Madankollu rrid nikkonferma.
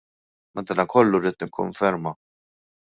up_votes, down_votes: 0, 2